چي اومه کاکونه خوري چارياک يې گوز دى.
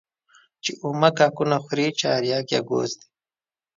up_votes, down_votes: 2, 0